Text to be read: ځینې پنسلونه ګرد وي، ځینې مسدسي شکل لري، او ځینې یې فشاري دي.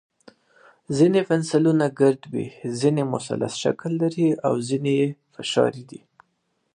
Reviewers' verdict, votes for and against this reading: rejected, 1, 2